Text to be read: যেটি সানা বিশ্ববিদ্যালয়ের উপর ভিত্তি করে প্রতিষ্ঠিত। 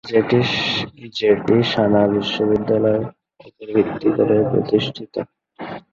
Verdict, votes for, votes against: rejected, 2, 7